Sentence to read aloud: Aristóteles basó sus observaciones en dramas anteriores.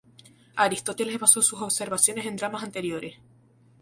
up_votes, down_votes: 2, 0